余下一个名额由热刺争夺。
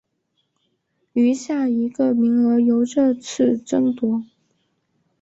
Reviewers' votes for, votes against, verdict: 2, 1, accepted